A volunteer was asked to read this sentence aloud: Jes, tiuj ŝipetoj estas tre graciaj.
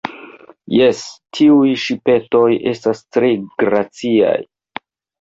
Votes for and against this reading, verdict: 2, 1, accepted